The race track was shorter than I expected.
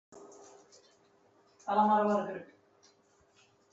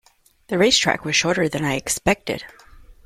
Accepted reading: second